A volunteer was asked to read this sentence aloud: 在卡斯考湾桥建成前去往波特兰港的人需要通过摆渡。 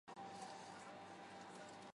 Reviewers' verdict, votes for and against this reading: rejected, 0, 2